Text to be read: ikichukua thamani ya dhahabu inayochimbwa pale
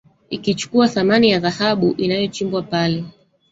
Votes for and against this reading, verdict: 1, 2, rejected